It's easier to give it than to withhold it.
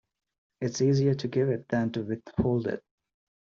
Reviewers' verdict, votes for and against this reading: accepted, 2, 0